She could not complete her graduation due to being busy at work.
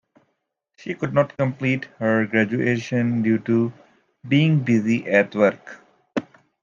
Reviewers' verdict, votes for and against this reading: accepted, 2, 0